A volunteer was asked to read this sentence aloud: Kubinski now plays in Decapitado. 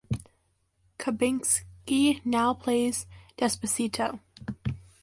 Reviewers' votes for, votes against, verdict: 0, 2, rejected